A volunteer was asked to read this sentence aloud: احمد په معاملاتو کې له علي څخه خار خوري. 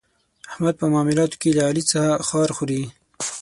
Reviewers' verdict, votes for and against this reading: accepted, 9, 3